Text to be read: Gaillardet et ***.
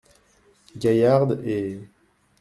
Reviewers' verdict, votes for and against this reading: rejected, 1, 2